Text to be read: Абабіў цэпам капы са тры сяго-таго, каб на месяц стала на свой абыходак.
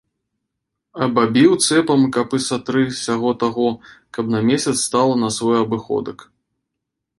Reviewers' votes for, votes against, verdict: 2, 0, accepted